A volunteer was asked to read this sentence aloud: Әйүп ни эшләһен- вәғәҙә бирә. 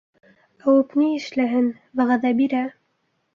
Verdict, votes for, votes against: rejected, 0, 2